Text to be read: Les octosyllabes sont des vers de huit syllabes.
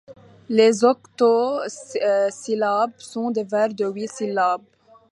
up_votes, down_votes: 1, 2